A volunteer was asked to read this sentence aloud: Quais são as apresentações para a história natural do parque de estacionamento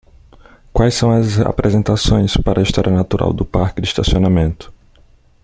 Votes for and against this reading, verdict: 1, 2, rejected